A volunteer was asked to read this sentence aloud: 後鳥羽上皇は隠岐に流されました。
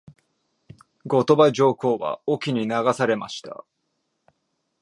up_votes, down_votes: 2, 0